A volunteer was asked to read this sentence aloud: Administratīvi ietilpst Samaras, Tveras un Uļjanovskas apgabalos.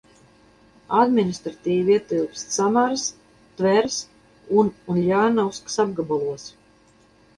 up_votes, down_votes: 2, 2